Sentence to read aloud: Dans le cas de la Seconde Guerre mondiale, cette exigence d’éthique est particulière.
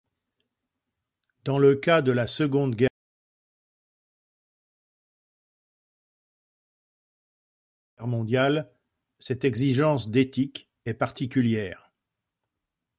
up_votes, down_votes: 0, 2